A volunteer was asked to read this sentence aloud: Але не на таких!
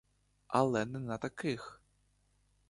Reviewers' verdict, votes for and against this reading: accepted, 2, 0